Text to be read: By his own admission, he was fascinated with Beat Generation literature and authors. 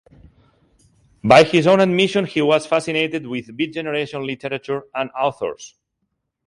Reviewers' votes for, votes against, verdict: 2, 0, accepted